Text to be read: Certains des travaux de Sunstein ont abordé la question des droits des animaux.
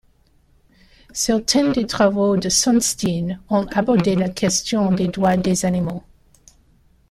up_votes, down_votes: 2, 0